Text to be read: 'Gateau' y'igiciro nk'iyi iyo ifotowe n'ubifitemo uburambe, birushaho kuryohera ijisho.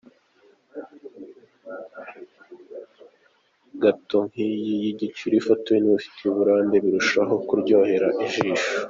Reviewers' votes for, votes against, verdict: 0, 2, rejected